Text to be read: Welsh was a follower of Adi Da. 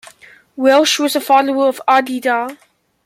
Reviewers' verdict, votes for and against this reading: accepted, 2, 0